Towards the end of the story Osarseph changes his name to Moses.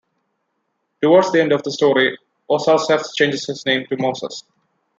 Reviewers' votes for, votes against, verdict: 2, 0, accepted